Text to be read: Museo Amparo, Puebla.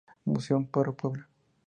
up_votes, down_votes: 0, 2